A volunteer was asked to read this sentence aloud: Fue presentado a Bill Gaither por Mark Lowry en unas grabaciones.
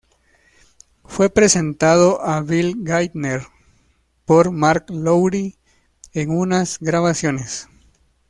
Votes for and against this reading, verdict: 0, 2, rejected